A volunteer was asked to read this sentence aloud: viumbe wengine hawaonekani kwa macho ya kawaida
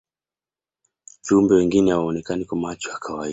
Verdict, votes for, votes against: accepted, 2, 1